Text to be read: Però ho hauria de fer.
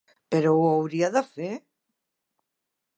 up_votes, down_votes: 1, 2